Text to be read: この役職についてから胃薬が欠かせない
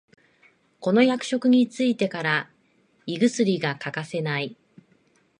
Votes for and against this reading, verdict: 2, 0, accepted